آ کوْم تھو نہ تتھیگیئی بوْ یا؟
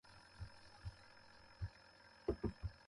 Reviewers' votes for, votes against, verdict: 0, 2, rejected